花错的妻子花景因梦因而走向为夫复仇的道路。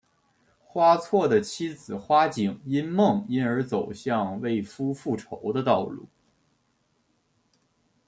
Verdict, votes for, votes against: accepted, 2, 0